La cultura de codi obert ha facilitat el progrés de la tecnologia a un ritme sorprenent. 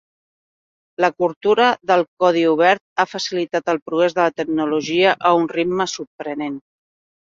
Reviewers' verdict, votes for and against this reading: rejected, 0, 2